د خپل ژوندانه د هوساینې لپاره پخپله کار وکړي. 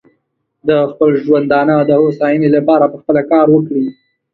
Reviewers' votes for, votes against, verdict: 2, 0, accepted